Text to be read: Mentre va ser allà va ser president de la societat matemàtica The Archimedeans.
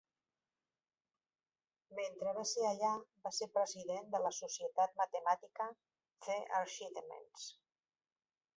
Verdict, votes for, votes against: rejected, 1, 2